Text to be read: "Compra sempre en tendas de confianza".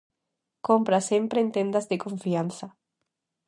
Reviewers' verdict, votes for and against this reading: accepted, 2, 0